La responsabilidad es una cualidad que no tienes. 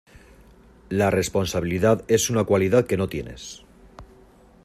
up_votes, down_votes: 2, 1